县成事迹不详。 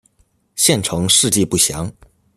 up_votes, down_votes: 2, 0